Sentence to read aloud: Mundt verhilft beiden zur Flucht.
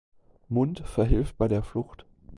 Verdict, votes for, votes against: rejected, 0, 2